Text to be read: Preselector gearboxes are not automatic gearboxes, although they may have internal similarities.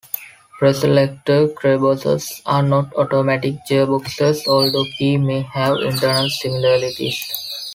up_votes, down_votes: 1, 2